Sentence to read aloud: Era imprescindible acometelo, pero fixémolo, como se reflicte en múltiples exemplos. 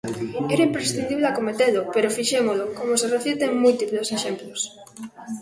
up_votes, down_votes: 0, 2